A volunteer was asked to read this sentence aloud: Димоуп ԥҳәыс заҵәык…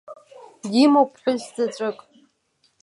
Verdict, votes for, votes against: rejected, 1, 2